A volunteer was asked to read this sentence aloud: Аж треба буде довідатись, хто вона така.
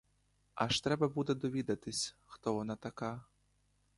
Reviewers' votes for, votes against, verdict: 2, 0, accepted